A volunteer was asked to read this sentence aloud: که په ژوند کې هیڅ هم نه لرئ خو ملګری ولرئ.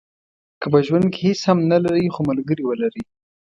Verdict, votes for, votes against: accepted, 2, 1